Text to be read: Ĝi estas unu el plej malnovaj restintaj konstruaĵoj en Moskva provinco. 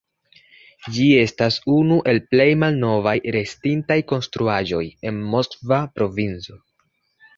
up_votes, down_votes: 2, 0